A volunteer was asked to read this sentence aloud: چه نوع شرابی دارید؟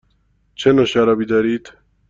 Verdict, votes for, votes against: accepted, 2, 0